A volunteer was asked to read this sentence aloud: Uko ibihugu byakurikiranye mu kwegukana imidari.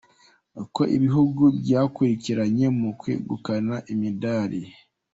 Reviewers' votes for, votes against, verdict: 2, 1, accepted